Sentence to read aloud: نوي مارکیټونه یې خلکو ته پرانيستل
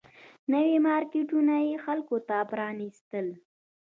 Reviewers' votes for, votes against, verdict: 2, 1, accepted